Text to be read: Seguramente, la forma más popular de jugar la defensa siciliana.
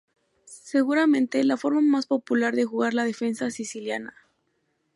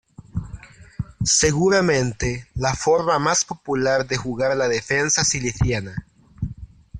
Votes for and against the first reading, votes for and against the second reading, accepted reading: 2, 0, 0, 2, first